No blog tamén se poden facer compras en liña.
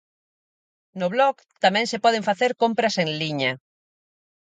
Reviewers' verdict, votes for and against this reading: accepted, 4, 0